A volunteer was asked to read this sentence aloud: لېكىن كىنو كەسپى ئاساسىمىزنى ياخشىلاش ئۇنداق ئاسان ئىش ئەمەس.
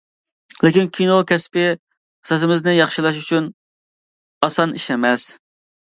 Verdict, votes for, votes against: rejected, 0, 2